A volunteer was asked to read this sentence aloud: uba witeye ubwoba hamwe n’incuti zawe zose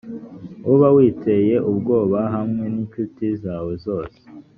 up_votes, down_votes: 2, 0